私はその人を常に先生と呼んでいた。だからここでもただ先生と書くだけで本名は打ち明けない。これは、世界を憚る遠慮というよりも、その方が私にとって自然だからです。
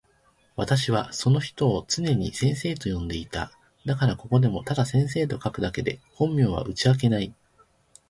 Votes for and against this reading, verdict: 1, 2, rejected